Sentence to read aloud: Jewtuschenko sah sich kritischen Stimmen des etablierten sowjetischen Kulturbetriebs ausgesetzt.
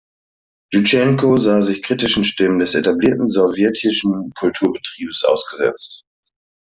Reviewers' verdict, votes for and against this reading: accepted, 2, 0